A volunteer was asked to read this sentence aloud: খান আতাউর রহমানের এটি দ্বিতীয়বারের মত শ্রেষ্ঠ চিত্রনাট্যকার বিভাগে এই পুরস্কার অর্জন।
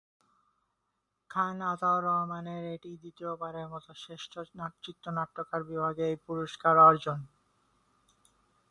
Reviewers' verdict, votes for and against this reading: rejected, 1, 8